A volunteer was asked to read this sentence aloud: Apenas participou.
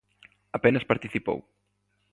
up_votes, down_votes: 2, 0